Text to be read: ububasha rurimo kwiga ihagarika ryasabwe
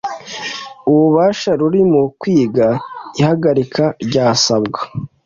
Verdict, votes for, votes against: rejected, 1, 2